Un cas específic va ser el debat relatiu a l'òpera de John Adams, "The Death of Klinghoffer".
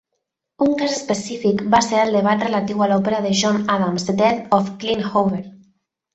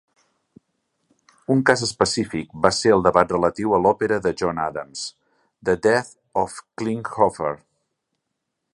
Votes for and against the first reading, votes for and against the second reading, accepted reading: 1, 2, 2, 0, second